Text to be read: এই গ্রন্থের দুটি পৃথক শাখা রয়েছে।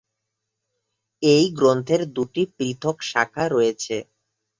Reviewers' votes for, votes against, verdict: 3, 0, accepted